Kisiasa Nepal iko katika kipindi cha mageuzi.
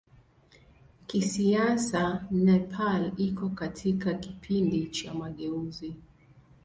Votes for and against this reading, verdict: 2, 0, accepted